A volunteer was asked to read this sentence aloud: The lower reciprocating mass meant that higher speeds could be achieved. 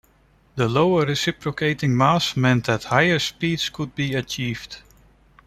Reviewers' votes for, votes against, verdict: 2, 0, accepted